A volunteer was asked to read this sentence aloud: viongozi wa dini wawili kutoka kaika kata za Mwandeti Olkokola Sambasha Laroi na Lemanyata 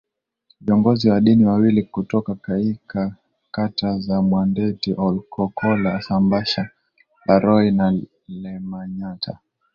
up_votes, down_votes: 1, 2